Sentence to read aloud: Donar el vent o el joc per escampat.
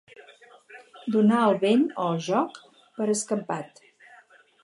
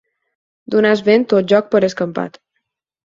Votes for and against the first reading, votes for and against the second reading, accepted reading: 4, 0, 0, 4, first